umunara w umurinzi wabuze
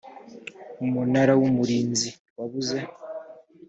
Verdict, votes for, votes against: accepted, 2, 0